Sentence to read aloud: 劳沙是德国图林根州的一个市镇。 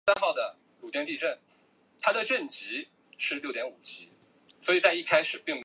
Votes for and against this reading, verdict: 0, 2, rejected